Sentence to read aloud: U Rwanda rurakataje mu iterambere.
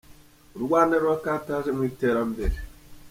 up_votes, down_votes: 2, 0